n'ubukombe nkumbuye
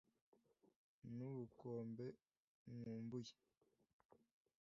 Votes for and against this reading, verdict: 1, 2, rejected